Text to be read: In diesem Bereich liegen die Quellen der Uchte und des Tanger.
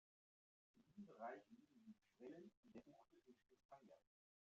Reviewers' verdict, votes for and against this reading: rejected, 0, 2